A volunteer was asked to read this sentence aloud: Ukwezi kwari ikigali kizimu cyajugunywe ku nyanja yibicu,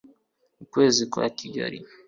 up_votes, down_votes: 0, 2